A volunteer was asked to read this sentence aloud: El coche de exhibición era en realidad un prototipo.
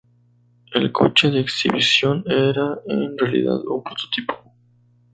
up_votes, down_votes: 0, 2